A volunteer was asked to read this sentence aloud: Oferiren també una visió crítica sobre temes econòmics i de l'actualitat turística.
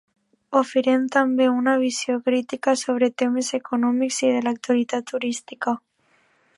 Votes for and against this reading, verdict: 1, 2, rejected